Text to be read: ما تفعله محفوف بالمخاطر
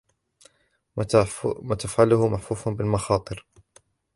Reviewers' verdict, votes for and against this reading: rejected, 1, 2